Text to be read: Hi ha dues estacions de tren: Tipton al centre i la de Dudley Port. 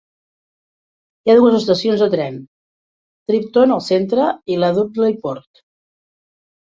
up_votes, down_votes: 0, 3